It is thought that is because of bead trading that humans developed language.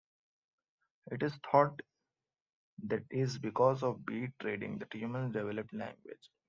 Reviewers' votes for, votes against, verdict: 2, 0, accepted